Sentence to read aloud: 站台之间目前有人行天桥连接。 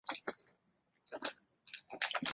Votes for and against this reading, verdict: 0, 2, rejected